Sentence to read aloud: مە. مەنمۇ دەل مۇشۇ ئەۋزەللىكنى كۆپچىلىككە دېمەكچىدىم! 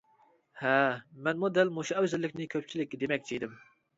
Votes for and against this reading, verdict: 0, 2, rejected